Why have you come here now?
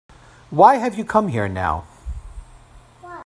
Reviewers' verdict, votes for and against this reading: accepted, 2, 0